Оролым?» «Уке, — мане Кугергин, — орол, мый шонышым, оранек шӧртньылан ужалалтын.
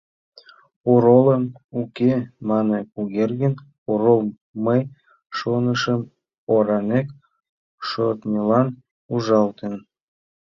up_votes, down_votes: 0, 2